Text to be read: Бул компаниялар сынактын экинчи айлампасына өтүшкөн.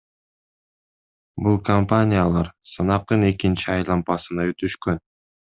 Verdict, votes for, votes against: rejected, 1, 2